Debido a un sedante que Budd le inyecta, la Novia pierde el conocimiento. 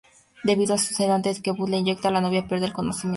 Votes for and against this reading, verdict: 0, 2, rejected